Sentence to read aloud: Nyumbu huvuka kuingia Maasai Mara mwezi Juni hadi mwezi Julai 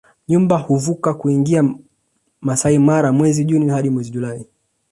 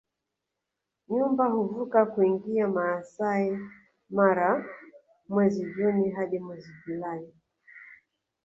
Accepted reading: first